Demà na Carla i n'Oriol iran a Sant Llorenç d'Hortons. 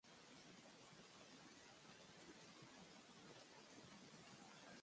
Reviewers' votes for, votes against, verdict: 0, 2, rejected